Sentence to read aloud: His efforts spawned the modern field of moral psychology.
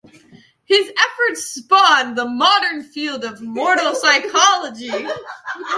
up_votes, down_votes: 1, 2